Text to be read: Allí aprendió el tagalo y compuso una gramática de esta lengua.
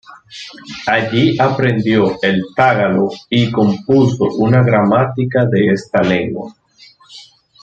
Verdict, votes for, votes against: rejected, 0, 2